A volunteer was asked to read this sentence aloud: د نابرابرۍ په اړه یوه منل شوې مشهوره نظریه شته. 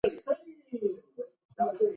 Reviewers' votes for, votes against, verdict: 0, 2, rejected